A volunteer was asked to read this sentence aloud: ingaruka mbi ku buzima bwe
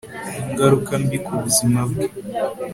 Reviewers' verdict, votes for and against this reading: accepted, 3, 0